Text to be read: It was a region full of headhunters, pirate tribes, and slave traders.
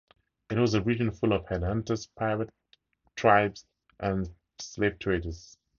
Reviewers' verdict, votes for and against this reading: rejected, 0, 2